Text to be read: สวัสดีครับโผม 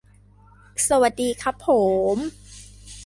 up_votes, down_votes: 2, 0